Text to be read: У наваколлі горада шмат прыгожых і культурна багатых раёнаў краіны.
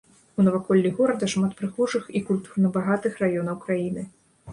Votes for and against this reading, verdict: 2, 0, accepted